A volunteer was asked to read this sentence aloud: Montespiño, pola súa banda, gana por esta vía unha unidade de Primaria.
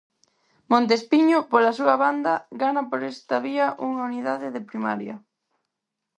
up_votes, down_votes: 4, 0